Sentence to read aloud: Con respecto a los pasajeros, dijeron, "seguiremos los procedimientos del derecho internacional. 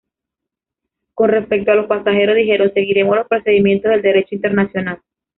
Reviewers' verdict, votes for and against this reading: rejected, 1, 2